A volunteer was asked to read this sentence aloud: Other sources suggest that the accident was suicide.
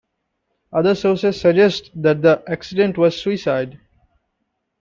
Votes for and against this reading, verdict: 2, 0, accepted